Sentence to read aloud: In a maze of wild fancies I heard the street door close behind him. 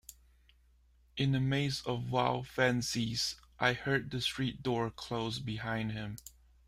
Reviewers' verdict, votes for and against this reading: accepted, 2, 0